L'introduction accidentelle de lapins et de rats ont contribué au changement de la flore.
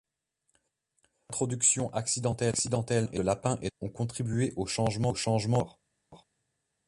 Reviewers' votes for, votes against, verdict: 0, 2, rejected